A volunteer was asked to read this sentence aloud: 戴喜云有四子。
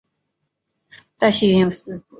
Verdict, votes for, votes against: rejected, 2, 3